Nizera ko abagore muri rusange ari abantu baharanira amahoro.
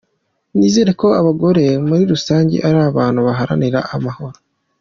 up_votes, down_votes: 2, 0